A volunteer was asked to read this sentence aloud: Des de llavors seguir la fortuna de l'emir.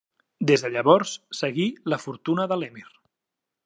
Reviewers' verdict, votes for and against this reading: rejected, 1, 2